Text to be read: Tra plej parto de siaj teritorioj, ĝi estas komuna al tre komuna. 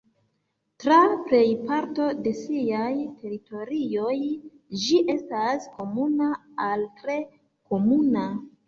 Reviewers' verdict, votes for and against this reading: accepted, 2, 1